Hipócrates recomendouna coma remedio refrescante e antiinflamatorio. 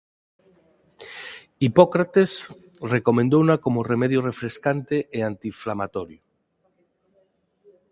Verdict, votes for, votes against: accepted, 4, 2